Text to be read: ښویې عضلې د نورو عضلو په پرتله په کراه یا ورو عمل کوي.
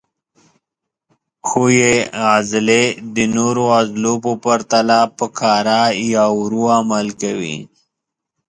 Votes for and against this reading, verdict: 2, 0, accepted